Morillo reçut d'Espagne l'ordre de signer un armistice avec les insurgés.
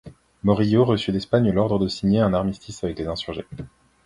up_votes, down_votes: 2, 0